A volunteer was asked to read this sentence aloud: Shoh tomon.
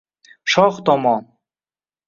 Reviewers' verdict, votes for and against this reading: accepted, 2, 0